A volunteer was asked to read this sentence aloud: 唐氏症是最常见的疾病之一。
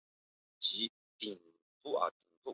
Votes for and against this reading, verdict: 1, 4, rejected